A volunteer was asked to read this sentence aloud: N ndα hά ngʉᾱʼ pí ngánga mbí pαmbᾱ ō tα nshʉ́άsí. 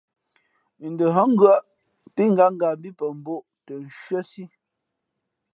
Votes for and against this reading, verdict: 2, 0, accepted